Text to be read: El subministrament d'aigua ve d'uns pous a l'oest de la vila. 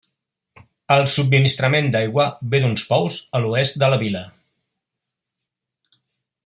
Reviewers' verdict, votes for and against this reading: rejected, 1, 2